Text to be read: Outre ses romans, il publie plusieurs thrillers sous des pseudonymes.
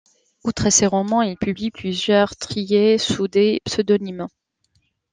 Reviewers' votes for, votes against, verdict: 1, 2, rejected